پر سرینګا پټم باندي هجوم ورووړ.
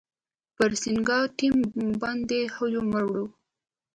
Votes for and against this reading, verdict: 0, 2, rejected